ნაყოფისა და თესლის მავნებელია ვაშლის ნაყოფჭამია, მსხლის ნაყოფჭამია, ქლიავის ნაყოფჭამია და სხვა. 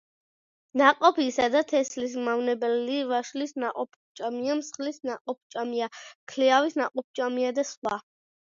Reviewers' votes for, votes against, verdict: 2, 0, accepted